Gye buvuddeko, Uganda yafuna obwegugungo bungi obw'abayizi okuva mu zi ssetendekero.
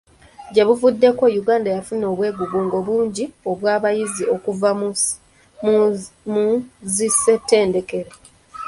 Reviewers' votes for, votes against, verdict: 0, 2, rejected